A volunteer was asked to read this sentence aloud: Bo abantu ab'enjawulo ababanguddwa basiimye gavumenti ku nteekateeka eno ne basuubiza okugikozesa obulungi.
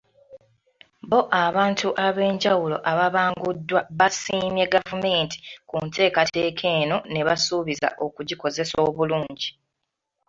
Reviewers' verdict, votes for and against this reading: accepted, 2, 1